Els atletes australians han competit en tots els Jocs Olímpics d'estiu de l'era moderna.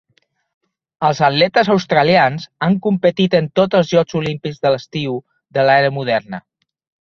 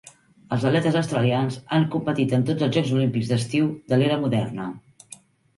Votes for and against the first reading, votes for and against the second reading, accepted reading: 1, 2, 2, 0, second